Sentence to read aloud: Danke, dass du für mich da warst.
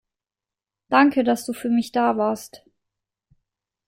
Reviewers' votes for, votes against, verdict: 2, 0, accepted